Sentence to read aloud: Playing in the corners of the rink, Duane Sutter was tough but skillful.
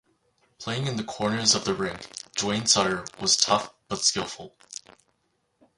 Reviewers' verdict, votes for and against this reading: rejected, 2, 4